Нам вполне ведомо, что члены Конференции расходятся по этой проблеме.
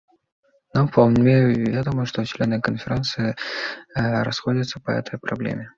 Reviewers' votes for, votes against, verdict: 2, 0, accepted